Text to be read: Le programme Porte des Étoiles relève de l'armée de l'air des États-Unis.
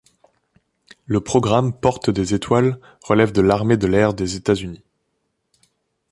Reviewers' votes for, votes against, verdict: 0, 2, rejected